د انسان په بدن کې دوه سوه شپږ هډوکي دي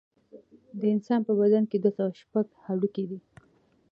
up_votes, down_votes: 2, 0